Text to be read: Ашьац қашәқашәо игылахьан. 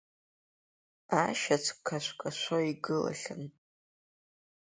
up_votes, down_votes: 0, 2